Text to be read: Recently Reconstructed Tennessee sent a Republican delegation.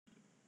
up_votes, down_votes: 0, 2